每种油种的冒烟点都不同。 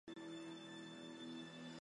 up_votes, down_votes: 0, 2